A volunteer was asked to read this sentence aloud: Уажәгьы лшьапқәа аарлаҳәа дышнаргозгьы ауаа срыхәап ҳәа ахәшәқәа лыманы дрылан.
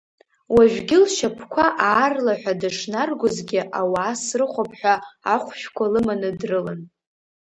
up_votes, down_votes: 2, 0